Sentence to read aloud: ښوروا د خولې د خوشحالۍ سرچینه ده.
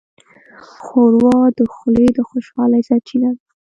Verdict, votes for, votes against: accepted, 2, 0